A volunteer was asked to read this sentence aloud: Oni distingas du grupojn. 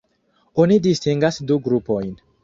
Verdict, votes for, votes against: rejected, 1, 2